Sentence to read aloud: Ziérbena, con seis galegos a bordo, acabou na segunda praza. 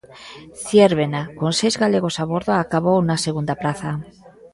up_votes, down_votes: 2, 0